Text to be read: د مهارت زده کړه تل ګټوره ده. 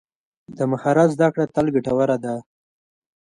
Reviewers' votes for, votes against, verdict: 0, 2, rejected